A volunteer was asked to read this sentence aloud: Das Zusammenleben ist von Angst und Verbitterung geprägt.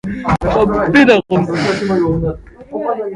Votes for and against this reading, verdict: 0, 2, rejected